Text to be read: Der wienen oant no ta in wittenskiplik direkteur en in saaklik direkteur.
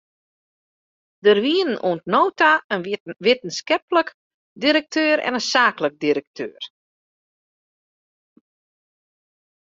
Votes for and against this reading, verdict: 1, 2, rejected